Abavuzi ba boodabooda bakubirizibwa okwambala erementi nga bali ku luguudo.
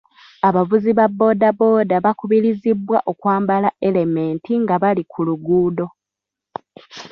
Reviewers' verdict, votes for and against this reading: accepted, 2, 0